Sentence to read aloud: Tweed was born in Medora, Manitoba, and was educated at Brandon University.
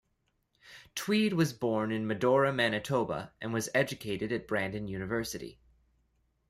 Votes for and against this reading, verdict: 2, 0, accepted